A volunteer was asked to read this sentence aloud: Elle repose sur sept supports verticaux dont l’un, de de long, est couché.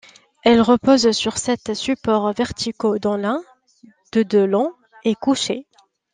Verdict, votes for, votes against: accepted, 2, 0